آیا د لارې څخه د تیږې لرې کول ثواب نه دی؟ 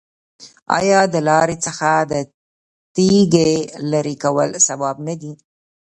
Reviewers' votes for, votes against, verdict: 2, 0, accepted